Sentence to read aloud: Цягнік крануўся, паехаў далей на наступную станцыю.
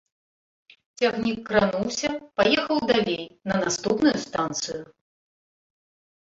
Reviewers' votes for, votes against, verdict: 2, 0, accepted